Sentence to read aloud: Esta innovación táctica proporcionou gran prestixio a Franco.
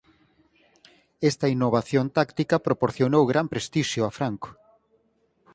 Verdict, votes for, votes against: accepted, 4, 0